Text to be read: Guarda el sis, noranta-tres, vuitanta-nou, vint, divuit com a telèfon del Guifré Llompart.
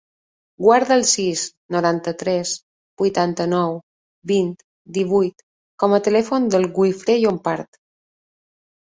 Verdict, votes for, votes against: rejected, 0, 2